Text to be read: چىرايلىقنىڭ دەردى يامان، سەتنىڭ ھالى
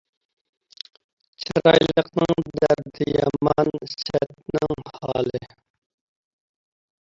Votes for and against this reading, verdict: 0, 2, rejected